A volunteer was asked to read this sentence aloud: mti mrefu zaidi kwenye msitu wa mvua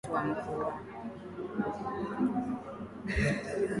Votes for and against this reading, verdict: 0, 8, rejected